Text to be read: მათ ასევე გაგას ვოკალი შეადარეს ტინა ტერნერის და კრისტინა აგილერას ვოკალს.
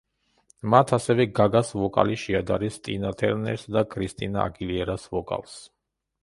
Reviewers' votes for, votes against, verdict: 0, 2, rejected